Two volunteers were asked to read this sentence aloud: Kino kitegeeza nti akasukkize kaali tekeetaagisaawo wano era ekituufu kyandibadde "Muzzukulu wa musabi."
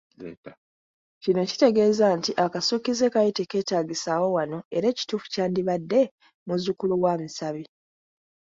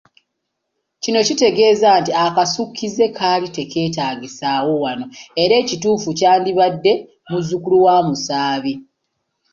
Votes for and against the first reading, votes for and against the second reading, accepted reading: 2, 0, 0, 2, first